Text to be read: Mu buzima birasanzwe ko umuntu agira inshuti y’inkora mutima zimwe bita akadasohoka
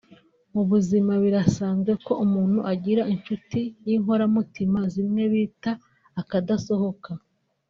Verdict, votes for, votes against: rejected, 1, 2